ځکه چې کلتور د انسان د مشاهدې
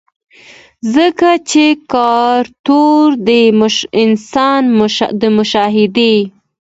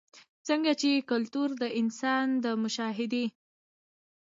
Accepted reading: first